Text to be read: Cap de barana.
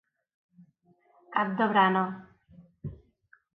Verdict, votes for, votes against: rejected, 0, 2